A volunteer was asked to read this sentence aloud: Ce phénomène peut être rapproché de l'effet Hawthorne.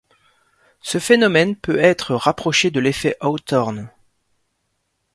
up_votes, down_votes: 2, 0